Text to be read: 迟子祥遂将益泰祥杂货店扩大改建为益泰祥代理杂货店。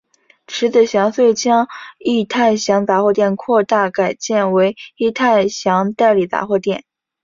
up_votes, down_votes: 4, 0